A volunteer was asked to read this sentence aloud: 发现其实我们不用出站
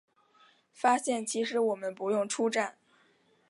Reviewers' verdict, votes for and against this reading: accepted, 8, 0